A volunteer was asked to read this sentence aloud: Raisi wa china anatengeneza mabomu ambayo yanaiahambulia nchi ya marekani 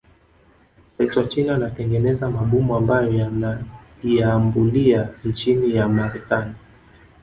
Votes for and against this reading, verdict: 1, 2, rejected